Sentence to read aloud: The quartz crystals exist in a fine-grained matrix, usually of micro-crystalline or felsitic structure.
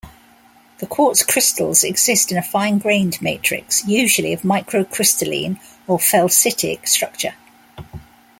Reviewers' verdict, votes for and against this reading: accepted, 2, 0